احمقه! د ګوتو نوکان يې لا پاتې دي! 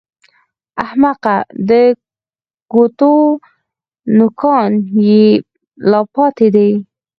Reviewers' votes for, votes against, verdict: 4, 2, accepted